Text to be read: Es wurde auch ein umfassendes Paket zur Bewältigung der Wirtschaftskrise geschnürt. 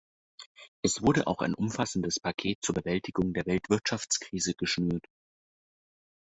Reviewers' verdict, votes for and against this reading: rejected, 0, 2